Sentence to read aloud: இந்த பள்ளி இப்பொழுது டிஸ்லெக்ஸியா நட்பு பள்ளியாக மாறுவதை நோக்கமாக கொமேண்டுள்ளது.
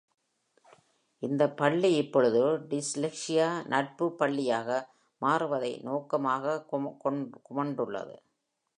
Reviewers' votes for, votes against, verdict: 0, 2, rejected